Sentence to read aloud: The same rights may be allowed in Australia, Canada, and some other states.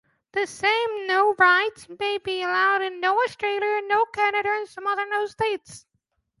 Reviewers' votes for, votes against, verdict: 0, 2, rejected